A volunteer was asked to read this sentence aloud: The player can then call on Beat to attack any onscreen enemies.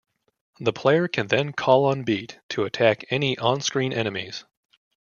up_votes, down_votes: 2, 0